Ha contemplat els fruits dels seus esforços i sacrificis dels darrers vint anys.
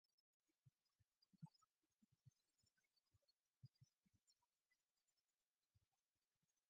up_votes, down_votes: 0, 2